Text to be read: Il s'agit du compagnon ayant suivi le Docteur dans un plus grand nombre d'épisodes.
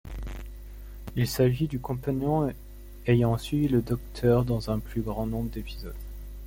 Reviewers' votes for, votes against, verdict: 2, 1, accepted